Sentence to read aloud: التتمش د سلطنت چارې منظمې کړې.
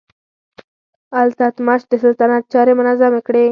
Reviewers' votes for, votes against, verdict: 4, 0, accepted